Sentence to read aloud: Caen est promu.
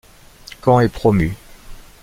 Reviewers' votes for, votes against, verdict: 2, 0, accepted